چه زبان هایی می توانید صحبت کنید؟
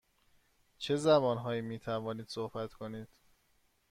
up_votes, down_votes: 2, 0